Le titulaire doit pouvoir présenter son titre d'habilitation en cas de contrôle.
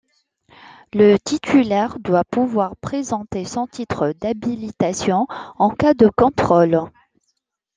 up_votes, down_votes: 2, 0